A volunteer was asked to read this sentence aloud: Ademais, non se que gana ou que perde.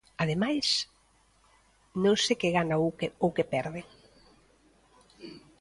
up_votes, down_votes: 0, 2